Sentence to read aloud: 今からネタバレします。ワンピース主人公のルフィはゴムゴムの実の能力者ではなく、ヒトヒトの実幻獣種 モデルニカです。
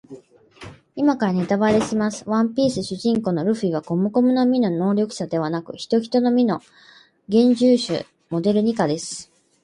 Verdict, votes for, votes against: accepted, 4, 0